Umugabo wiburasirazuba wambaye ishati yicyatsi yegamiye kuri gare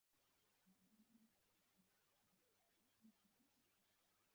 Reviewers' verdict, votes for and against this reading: rejected, 0, 2